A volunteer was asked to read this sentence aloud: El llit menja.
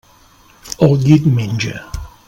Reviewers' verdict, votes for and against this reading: accepted, 3, 0